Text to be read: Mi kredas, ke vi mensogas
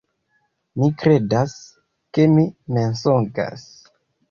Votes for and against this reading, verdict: 0, 2, rejected